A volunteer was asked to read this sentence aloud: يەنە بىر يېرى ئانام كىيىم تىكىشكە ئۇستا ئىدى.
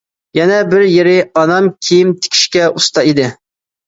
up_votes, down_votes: 2, 0